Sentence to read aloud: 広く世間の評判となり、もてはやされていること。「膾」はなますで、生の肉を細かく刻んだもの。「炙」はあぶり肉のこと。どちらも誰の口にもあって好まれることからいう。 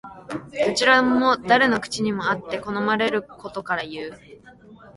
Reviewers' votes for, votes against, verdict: 0, 2, rejected